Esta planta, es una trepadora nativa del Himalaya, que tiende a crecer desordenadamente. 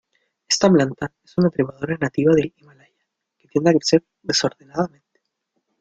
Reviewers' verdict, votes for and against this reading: rejected, 0, 2